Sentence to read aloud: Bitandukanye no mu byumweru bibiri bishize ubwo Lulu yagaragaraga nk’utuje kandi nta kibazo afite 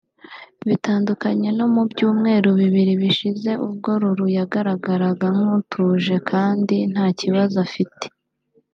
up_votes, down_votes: 2, 0